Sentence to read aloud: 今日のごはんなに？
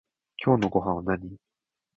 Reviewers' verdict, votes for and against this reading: rejected, 0, 2